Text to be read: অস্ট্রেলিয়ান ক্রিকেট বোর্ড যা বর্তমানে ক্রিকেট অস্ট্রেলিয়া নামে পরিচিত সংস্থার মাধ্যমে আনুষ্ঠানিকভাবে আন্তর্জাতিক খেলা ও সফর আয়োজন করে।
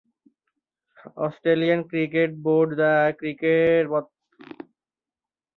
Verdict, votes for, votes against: rejected, 0, 2